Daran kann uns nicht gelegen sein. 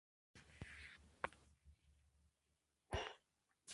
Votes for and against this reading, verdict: 0, 2, rejected